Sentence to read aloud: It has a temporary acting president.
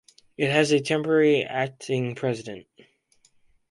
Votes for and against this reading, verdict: 4, 0, accepted